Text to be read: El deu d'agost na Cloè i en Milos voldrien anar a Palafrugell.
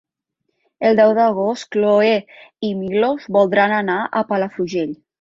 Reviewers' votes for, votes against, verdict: 0, 2, rejected